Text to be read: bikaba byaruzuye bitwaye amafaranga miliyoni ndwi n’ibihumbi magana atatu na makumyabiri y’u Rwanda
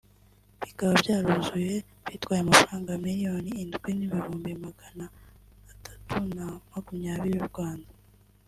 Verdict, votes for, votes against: rejected, 1, 2